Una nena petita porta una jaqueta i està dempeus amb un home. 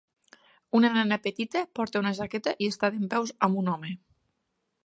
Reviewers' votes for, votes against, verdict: 2, 0, accepted